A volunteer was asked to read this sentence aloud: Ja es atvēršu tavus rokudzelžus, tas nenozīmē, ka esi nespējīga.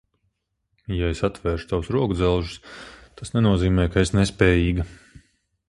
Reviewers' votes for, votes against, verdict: 6, 3, accepted